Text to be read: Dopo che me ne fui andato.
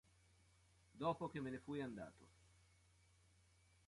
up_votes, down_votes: 2, 3